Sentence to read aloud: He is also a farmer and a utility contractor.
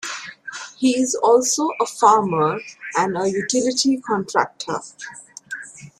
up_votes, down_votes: 2, 1